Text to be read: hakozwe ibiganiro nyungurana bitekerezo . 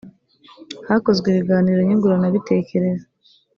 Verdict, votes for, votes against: accepted, 2, 0